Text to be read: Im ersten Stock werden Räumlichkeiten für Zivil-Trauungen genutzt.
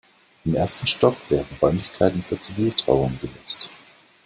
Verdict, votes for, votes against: rejected, 1, 2